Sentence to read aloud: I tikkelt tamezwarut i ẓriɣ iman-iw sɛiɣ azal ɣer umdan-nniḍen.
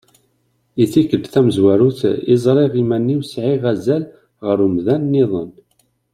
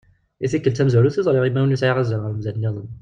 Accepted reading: first